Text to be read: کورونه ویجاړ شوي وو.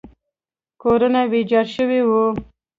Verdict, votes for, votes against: rejected, 1, 2